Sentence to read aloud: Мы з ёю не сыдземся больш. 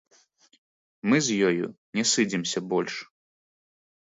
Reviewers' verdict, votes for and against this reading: accepted, 2, 1